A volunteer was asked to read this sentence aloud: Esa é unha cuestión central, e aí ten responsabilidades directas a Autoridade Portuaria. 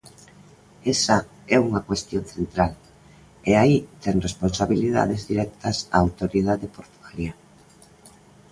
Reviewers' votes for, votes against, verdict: 2, 0, accepted